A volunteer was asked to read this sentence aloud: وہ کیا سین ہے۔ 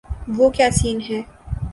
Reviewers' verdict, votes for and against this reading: rejected, 1, 2